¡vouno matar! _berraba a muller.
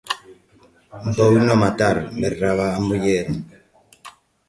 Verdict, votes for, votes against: rejected, 1, 2